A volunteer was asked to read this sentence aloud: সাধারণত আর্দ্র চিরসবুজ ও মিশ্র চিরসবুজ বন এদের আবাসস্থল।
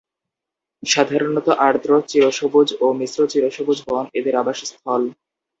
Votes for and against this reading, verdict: 4, 0, accepted